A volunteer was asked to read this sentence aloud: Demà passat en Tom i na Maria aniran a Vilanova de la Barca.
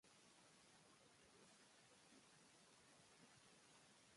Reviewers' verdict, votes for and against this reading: rejected, 0, 2